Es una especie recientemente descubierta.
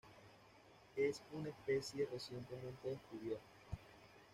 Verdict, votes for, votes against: accepted, 2, 1